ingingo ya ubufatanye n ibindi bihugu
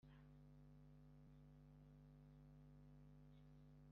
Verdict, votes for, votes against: rejected, 0, 2